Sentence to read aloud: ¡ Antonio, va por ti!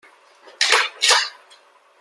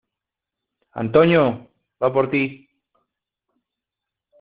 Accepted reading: second